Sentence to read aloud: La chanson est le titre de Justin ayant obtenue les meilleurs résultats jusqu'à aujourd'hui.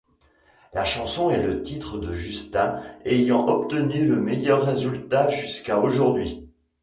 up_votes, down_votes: 0, 2